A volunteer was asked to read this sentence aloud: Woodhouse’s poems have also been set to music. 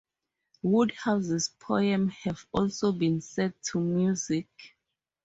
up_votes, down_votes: 4, 4